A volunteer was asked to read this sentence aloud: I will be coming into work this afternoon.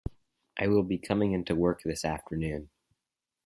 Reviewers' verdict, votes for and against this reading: accepted, 4, 0